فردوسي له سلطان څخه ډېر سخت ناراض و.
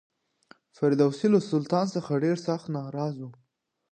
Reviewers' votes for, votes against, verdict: 2, 0, accepted